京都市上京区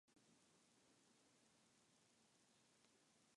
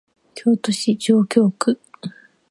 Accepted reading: second